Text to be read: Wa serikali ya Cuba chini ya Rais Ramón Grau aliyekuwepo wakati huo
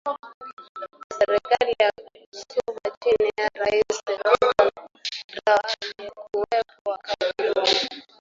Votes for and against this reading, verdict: 0, 2, rejected